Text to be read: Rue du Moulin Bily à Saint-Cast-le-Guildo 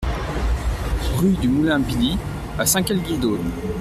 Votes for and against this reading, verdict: 1, 2, rejected